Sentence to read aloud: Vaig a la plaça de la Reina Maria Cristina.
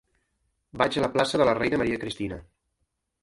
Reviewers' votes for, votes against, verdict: 1, 2, rejected